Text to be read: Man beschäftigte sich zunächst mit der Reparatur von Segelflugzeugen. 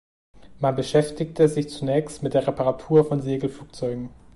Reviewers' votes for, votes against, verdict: 2, 0, accepted